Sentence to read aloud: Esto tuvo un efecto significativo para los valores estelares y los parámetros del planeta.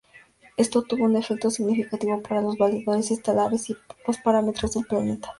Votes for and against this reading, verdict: 2, 0, accepted